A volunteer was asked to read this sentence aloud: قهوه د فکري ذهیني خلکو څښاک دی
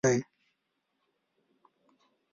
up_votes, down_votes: 0, 2